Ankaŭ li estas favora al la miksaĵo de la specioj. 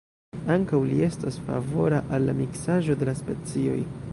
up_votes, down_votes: 3, 1